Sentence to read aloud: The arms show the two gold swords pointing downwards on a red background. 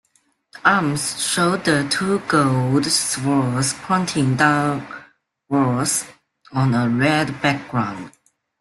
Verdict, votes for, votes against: rejected, 0, 2